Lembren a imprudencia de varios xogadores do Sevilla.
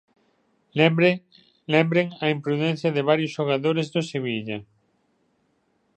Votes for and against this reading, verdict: 0, 2, rejected